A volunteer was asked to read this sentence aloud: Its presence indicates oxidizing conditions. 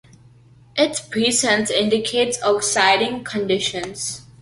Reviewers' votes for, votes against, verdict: 0, 2, rejected